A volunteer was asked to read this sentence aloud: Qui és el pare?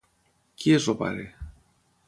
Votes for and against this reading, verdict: 3, 3, rejected